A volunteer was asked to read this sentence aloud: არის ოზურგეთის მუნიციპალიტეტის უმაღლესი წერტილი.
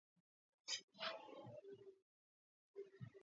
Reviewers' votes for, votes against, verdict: 0, 2, rejected